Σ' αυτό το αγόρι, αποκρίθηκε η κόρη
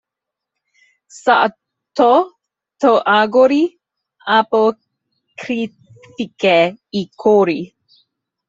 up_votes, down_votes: 1, 2